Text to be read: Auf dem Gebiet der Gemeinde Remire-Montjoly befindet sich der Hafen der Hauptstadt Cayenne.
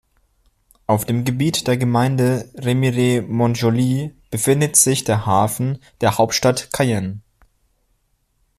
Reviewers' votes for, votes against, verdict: 2, 0, accepted